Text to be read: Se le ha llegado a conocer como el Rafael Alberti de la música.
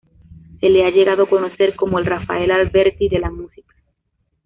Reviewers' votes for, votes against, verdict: 2, 0, accepted